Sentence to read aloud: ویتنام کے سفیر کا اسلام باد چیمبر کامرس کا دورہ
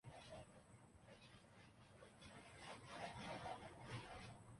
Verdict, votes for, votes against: rejected, 0, 2